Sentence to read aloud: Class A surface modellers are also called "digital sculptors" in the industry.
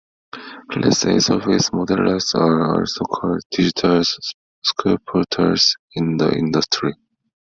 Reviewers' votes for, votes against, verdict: 0, 2, rejected